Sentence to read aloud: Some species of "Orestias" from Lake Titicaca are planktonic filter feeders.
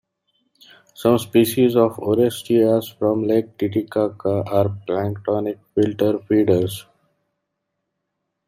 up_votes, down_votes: 2, 0